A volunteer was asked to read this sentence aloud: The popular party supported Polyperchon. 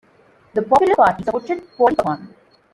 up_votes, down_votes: 0, 2